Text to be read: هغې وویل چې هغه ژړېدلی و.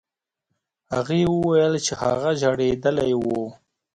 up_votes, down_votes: 3, 1